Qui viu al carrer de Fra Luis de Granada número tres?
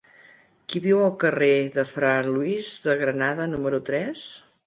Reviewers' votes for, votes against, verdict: 2, 0, accepted